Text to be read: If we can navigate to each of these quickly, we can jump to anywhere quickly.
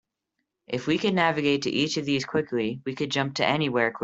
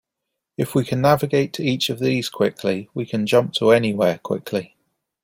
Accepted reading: second